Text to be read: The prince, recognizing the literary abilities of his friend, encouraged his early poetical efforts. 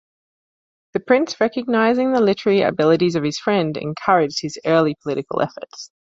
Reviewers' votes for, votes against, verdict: 1, 2, rejected